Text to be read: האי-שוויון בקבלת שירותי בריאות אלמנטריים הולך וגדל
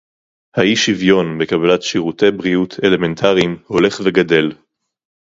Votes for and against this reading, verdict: 2, 0, accepted